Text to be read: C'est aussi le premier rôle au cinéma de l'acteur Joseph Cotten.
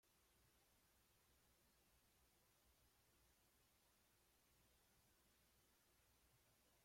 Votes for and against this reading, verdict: 0, 2, rejected